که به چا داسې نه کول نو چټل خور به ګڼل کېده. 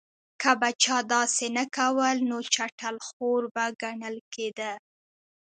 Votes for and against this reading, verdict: 2, 0, accepted